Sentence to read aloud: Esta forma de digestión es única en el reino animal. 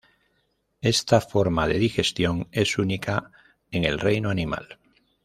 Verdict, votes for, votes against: rejected, 0, 2